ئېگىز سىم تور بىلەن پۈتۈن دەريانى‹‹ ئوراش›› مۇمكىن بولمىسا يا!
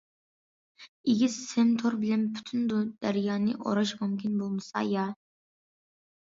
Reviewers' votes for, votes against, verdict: 0, 2, rejected